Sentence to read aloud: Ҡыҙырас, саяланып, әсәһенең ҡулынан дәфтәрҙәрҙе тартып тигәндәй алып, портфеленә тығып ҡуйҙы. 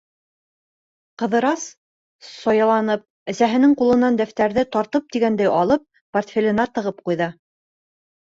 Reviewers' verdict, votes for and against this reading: rejected, 1, 2